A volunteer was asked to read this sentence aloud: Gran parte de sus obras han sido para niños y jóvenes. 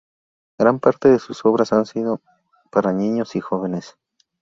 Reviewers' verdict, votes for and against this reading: accepted, 2, 0